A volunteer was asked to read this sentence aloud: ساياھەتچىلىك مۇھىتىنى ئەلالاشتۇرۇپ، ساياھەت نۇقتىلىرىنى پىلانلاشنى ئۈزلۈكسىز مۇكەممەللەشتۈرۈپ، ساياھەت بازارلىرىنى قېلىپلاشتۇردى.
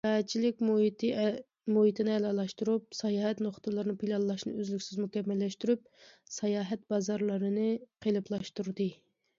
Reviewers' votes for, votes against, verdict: 0, 2, rejected